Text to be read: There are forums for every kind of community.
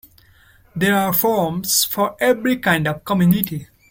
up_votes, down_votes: 1, 2